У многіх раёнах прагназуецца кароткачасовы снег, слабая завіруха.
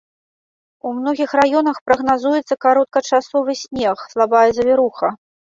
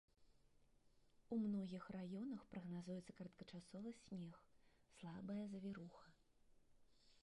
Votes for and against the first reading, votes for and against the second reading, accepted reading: 2, 0, 1, 2, first